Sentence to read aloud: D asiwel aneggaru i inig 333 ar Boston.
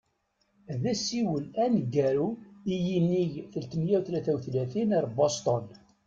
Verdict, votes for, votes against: rejected, 0, 2